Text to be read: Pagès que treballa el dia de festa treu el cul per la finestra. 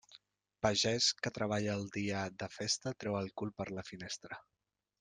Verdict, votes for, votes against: rejected, 1, 2